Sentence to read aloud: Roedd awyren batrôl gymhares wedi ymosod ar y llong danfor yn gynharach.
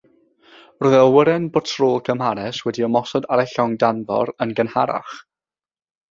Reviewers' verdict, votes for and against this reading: rejected, 3, 3